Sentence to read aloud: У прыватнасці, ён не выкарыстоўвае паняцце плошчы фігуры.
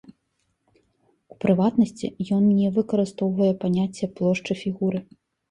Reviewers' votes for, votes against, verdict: 2, 0, accepted